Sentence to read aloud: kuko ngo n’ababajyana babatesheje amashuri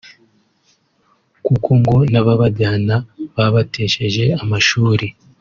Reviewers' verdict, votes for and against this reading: accepted, 2, 0